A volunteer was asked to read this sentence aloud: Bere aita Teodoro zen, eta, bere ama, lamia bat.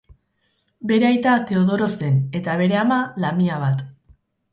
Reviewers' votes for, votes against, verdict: 4, 0, accepted